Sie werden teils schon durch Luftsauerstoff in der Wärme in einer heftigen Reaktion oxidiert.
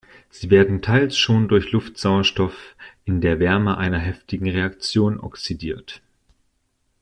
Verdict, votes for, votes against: rejected, 1, 2